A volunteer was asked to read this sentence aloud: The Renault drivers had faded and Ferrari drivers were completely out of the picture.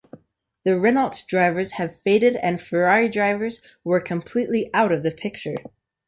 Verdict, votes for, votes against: accepted, 2, 0